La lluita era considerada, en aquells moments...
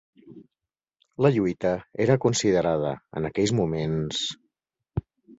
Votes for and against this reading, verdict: 5, 1, accepted